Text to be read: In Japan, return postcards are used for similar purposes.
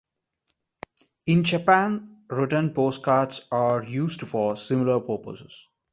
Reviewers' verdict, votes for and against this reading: accepted, 2, 0